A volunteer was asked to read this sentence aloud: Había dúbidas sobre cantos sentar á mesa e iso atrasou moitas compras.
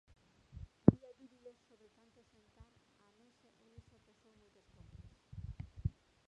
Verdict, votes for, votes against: rejected, 0, 2